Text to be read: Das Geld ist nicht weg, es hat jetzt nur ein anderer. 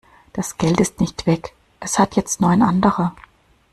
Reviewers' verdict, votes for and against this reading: accepted, 2, 0